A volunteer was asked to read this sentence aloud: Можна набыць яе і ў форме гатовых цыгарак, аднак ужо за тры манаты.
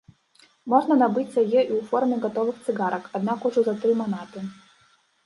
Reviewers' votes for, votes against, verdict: 1, 2, rejected